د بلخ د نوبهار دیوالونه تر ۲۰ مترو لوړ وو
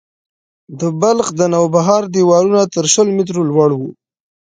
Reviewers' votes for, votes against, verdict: 0, 2, rejected